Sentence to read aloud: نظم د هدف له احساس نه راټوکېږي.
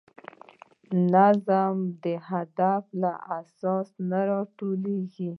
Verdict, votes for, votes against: rejected, 1, 2